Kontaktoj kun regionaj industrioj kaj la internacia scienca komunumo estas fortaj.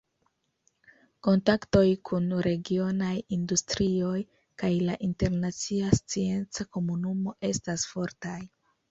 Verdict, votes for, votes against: accepted, 2, 0